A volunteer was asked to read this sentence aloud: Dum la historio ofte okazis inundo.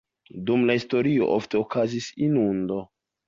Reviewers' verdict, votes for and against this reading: accepted, 2, 0